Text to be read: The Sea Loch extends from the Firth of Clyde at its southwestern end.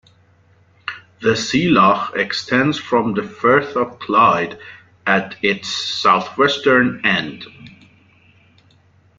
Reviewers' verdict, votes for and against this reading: accepted, 2, 0